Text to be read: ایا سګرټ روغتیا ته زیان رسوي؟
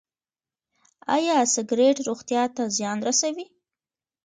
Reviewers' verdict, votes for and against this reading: accepted, 2, 0